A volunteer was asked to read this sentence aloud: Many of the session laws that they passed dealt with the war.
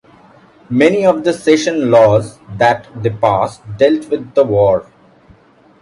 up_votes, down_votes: 1, 2